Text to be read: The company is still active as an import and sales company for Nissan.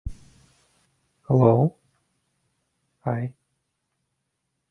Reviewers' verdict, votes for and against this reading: rejected, 0, 2